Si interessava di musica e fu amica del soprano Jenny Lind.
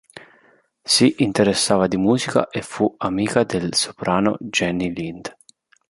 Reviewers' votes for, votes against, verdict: 2, 0, accepted